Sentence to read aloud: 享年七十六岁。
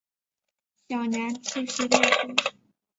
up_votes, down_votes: 1, 2